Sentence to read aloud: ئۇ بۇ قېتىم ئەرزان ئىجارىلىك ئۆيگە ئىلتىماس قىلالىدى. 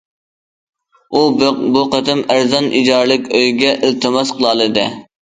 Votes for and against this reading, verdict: 2, 1, accepted